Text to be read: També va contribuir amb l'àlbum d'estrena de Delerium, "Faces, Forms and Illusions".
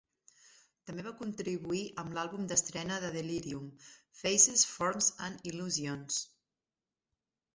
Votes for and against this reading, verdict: 1, 2, rejected